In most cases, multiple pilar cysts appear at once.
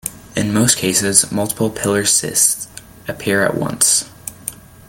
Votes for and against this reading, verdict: 2, 1, accepted